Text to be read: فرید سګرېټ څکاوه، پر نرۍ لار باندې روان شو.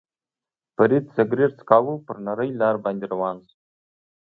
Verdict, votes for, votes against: accepted, 2, 0